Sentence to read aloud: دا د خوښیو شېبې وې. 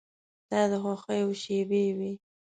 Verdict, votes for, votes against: accepted, 2, 0